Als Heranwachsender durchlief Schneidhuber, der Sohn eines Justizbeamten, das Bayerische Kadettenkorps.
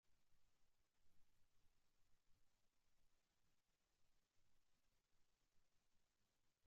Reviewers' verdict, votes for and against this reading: rejected, 0, 2